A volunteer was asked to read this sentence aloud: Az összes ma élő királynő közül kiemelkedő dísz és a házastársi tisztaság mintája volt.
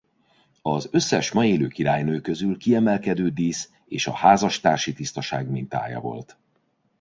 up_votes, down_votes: 2, 0